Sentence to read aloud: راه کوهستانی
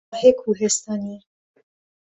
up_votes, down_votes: 0, 2